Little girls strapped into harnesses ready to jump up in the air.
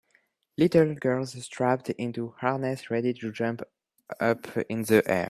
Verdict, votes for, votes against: accepted, 2, 0